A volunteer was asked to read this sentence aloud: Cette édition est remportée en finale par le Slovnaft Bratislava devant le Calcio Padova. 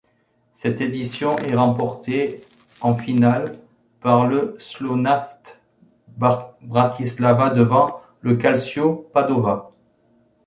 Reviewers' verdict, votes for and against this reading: rejected, 0, 2